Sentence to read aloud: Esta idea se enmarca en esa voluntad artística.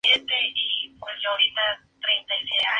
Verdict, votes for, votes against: rejected, 0, 2